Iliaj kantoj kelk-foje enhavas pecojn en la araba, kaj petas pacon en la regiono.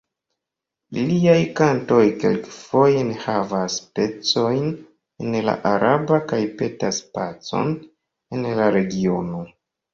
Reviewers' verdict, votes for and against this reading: accepted, 2, 1